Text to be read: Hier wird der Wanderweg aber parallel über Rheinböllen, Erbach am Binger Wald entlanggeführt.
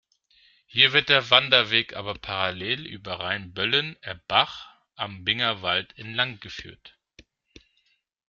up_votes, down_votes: 1, 2